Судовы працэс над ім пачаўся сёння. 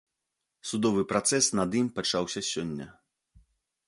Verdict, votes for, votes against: accepted, 2, 0